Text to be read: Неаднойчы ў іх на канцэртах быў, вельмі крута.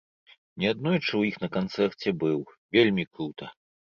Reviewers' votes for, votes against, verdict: 1, 2, rejected